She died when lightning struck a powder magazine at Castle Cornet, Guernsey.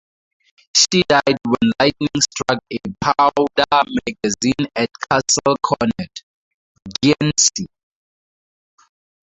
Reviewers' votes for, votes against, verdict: 0, 4, rejected